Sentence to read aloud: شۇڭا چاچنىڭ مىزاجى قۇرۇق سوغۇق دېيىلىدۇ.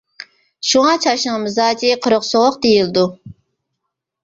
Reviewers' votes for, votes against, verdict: 2, 0, accepted